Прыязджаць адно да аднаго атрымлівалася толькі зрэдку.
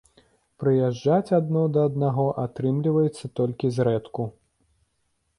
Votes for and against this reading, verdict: 0, 2, rejected